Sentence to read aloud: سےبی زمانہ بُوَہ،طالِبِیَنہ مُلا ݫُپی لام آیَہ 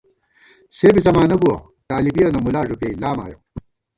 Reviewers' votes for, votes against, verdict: 1, 2, rejected